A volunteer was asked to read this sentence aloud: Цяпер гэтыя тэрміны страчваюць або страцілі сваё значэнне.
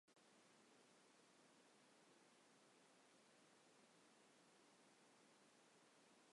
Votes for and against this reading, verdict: 1, 2, rejected